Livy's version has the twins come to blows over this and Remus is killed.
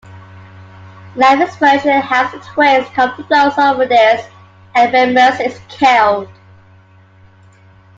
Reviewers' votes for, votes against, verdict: 1, 2, rejected